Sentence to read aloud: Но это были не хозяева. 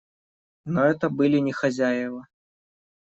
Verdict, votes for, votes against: accepted, 2, 0